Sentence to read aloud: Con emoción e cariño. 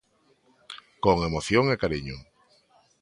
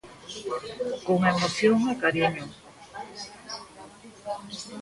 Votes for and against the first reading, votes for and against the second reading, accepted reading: 2, 0, 1, 2, first